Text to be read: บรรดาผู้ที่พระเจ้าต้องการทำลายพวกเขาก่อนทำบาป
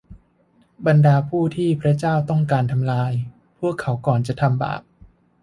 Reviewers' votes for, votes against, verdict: 0, 2, rejected